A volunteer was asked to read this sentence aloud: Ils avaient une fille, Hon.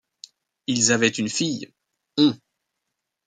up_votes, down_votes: 1, 2